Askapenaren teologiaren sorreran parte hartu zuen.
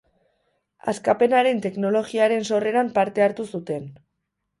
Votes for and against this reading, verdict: 0, 2, rejected